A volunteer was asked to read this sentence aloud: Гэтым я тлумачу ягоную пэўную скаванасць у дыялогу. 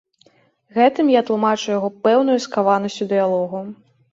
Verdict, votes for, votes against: rejected, 1, 2